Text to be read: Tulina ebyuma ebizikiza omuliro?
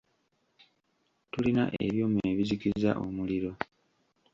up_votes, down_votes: 0, 2